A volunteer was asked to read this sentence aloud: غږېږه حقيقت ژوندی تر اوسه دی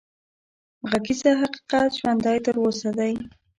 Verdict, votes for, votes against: rejected, 1, 2